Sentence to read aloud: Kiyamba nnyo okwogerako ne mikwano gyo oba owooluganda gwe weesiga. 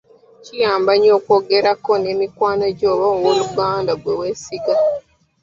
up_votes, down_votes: 2, 1